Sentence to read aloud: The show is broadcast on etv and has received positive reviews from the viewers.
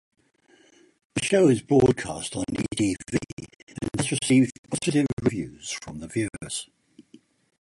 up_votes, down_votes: 2, 4